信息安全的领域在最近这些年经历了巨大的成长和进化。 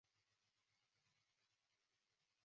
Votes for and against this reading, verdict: 0, 4, rejected